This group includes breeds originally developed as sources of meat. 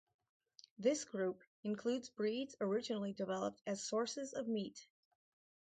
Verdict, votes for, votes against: accepted, 2, 0